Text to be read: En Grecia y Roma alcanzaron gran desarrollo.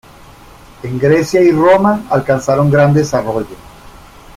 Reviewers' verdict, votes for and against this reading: rejected, 0, 2